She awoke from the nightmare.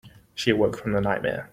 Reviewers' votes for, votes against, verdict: 2, 1, accepted